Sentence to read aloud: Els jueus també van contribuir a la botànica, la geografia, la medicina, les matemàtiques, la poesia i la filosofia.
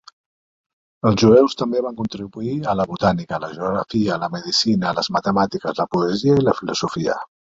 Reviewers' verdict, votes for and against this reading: rejected, 1, 2